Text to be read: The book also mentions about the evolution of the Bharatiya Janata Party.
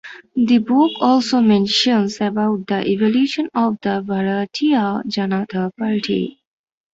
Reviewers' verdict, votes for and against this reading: accepted, 2, 0